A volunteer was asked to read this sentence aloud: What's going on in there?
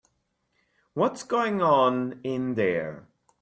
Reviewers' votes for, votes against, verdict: 2, 0, accepted